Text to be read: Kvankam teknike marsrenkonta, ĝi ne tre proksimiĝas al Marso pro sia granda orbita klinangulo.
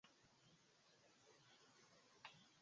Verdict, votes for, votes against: rejected, 0, 2